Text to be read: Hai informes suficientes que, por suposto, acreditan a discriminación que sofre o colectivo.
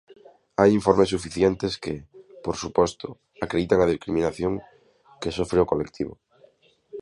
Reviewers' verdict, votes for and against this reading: rejected, 0, 2